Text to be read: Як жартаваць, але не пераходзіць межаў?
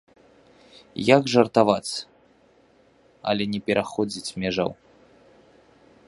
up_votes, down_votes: 2, 0